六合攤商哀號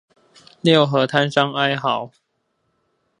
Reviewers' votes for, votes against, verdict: 4, 0, accepted